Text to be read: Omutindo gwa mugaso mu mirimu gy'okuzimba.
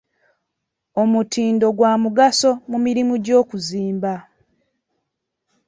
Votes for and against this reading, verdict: 2, 0, accepted